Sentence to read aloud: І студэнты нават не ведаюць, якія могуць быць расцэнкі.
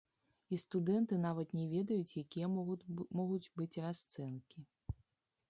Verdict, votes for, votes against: rejected, 0, 2